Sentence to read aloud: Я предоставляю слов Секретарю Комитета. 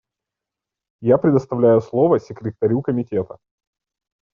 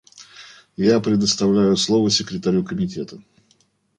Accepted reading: first